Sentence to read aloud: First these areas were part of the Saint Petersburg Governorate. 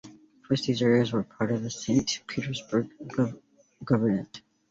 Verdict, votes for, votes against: rejected, 1, 2